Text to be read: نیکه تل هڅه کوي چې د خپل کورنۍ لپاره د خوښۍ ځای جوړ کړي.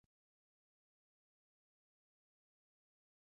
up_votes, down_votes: 2, 4